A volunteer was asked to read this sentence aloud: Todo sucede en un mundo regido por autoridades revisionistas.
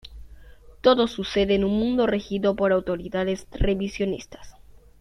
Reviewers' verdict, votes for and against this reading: accepted, 2, 0